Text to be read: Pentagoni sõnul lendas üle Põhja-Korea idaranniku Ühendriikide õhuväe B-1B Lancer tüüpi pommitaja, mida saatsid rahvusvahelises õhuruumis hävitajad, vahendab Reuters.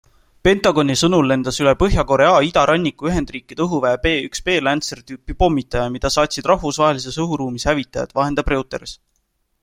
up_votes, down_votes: 0, 2